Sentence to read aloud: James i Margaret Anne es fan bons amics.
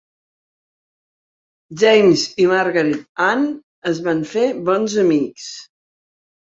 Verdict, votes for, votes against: rejected, 1, 2